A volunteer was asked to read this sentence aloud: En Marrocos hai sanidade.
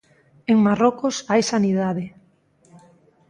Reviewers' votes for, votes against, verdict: 2, 0, accepted